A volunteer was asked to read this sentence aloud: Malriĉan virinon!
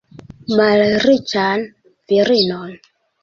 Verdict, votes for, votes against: accepted, 2, 1